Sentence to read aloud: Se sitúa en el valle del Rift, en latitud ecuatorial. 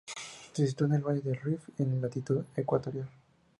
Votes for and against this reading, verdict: 2, 0, accepted